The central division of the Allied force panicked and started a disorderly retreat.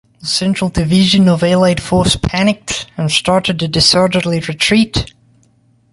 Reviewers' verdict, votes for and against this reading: rejected, 1, 2